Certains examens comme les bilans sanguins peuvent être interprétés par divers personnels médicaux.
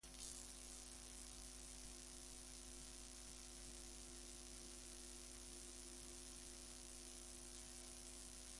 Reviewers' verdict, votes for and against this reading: rejected, 0, 2